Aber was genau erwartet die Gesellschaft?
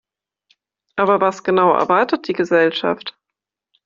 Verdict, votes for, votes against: accepted, 2, 0